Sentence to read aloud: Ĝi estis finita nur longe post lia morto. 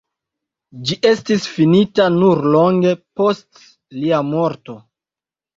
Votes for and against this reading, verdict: 2, 0, accepted